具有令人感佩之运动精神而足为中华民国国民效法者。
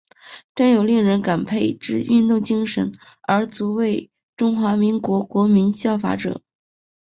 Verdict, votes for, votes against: accepted, 4, 1